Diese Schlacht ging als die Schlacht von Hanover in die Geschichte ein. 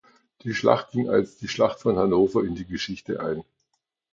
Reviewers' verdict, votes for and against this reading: rejected, 1, 2